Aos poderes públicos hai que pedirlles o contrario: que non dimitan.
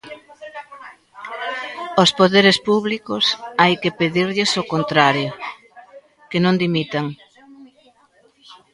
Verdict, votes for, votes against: rejected, 1, 2